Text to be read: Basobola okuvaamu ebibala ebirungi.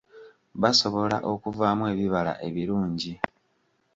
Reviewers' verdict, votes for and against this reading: accepted, 2, 1